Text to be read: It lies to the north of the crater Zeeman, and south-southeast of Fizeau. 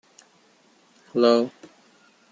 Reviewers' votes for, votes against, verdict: 1, 2, rejected